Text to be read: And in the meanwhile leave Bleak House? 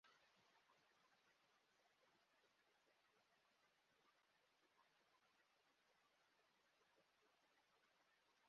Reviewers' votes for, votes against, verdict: 0, 2, rejected